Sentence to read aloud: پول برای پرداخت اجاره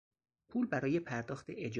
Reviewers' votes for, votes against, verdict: 2, 4, rejected